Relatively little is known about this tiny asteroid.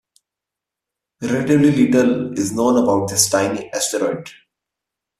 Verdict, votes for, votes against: accepted, 2, 0